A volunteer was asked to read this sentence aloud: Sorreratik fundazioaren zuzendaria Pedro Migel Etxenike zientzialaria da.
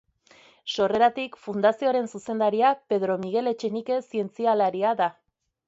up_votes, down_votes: 2, 0